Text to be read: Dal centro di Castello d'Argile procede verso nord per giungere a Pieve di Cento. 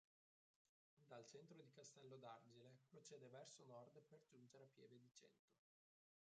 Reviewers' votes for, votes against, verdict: 0, 3, rejected